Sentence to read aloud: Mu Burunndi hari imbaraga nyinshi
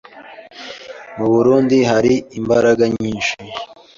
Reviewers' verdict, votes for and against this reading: accepted, 2, 0